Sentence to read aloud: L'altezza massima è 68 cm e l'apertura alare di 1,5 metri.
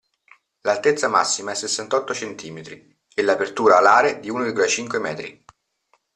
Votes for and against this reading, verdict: 0, 2, rejected